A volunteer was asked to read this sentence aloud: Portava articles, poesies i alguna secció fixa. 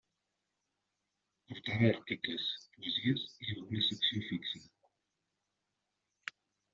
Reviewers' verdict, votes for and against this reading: rejected, 1, 2